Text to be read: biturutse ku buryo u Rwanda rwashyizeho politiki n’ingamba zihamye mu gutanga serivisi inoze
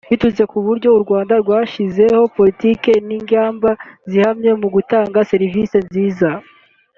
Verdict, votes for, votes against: rejected, 0, 2